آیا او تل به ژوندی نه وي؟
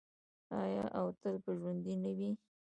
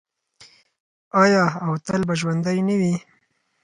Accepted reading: second